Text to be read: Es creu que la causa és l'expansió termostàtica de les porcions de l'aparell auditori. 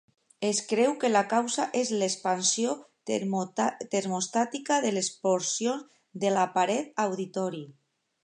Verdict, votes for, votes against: rejected, 0, 2